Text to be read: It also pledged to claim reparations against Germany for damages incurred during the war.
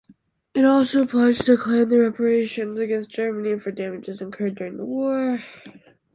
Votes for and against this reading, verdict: 0, 2, rejected